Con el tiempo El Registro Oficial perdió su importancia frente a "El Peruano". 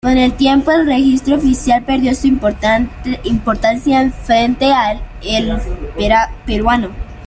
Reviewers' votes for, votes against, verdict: 0, 2, rejected